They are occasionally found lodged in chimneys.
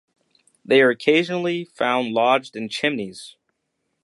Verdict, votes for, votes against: accepted, 2, 0